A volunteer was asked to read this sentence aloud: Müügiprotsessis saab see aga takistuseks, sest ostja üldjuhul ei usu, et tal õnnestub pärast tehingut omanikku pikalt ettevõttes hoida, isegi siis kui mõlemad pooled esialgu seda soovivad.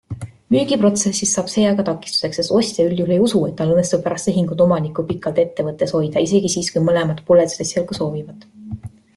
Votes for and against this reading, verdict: 2, 0, accepted